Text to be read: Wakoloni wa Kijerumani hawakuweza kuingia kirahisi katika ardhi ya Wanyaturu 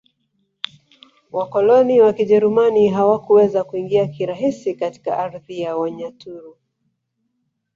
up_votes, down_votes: 2, 0